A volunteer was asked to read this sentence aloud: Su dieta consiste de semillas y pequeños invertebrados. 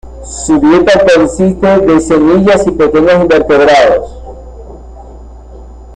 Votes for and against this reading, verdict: 2, 1, accepted